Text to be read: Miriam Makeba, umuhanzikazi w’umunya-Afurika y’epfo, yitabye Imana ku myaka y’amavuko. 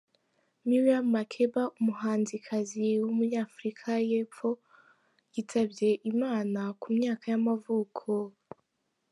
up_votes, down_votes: 4, 1